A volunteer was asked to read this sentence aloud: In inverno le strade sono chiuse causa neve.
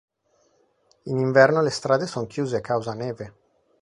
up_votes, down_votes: 2, 3